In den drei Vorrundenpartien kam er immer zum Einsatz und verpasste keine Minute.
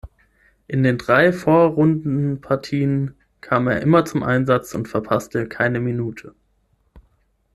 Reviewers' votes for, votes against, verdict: 6, 0, accepted